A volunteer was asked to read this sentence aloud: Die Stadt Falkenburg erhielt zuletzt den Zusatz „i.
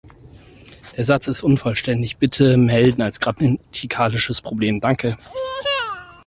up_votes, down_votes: 0, 4